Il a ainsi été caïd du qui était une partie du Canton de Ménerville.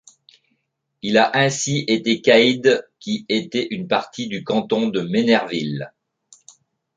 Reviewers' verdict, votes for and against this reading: rejected, 1, 2